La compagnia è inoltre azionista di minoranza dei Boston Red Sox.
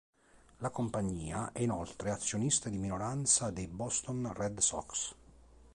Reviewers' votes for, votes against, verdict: 3, 0, accepted